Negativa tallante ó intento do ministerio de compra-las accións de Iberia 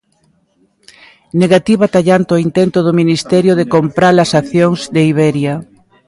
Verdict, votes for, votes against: accepted, 2, 0